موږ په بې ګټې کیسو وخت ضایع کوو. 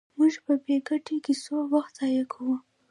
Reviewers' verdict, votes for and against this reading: accepted, 2, 1